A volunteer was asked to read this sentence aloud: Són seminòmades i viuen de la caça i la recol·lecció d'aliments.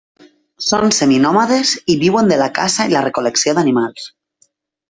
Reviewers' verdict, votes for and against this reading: rejected, 0, 2